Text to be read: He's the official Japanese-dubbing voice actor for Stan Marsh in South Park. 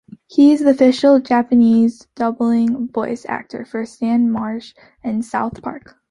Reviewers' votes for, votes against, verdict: 0, 2, rejected